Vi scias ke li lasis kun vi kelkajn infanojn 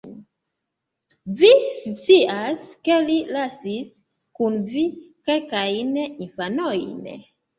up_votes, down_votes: 2, 1